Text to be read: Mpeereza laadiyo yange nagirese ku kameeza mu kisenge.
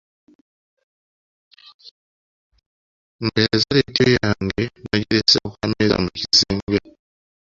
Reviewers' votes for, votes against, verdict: 1, 2, rejected